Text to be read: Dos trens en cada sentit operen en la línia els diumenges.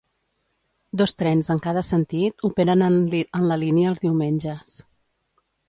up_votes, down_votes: 0, 2